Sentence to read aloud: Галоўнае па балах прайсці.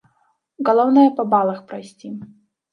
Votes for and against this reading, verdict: 0, 2, rejected